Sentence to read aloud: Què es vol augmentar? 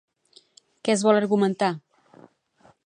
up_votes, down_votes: 0, 2